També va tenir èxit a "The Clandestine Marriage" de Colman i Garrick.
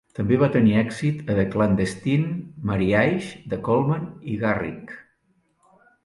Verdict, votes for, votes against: accepted, 5, 3